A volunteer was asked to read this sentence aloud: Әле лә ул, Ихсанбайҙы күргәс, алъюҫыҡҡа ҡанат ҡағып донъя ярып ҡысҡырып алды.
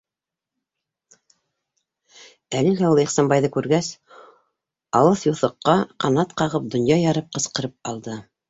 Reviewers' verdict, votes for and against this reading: rejected, 2, 3